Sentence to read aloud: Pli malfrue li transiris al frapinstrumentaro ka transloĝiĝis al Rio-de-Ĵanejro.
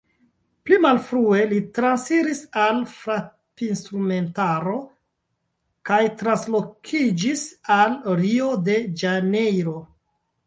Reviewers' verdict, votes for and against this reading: rejected, 0, 2